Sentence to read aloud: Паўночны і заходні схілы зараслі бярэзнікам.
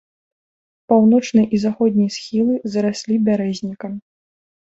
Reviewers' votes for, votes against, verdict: 2, 0, accepted